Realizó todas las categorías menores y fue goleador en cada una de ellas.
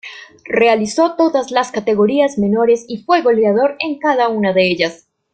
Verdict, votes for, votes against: accepted, 2, 0